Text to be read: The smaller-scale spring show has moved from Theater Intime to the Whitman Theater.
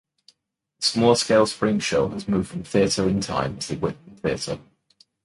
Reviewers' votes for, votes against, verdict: 0, 2, rejected